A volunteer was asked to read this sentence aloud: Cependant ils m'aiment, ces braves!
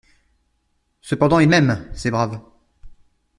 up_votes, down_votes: 2, 0